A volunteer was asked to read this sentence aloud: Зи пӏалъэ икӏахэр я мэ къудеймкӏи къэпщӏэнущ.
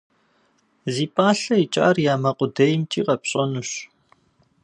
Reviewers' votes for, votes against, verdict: 1, 2, rejected